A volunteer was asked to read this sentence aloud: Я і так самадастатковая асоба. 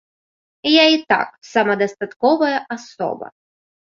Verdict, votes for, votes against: accepted, 2, 0